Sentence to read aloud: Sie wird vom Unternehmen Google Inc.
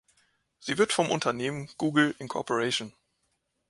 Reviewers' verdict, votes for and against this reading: rejected, 0, 2